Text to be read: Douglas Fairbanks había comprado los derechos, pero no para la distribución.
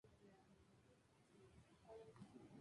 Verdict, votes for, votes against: accepted, 2, 0